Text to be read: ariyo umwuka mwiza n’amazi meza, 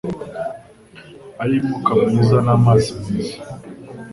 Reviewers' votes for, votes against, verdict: 2, 0, accepted